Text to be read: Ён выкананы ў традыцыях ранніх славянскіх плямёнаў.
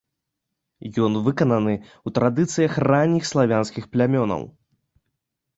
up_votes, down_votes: 2, 0